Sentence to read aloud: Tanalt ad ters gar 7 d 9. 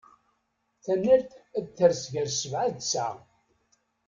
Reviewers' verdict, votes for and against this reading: rejected, 0, 2